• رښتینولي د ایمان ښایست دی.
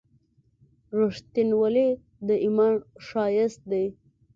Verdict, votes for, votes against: accepted, 2, 0